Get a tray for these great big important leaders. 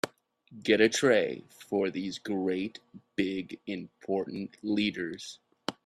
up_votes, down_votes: 3, 0